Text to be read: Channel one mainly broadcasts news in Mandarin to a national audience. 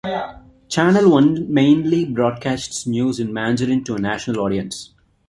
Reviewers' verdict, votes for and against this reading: accepted, 2, 0